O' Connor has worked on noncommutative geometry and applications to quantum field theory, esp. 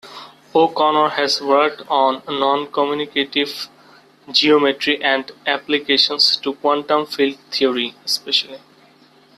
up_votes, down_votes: 1, 2